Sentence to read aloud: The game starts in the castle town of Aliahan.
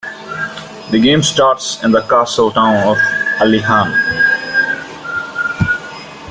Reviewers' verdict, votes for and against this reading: accepted, 2, 1